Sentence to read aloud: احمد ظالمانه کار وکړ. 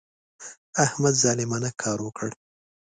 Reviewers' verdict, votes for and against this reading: accepted, 2, 0